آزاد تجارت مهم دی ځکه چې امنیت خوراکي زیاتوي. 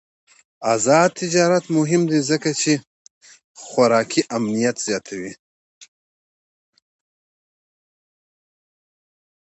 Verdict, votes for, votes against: rejected, 1, 2